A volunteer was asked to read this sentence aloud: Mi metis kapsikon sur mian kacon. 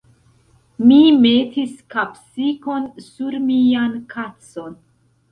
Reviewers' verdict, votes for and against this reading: accepted, 2, 0